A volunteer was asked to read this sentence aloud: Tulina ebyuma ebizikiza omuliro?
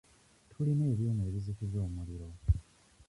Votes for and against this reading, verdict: 1, 2, rejected